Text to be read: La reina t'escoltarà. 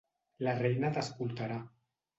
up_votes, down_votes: 2, 0